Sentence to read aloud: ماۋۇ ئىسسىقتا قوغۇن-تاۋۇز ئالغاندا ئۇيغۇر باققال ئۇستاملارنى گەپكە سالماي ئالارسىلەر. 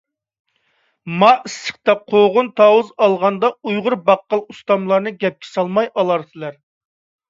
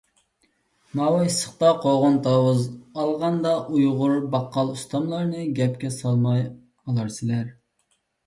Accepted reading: second